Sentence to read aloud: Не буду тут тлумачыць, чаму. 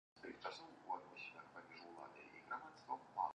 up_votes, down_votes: 0, 2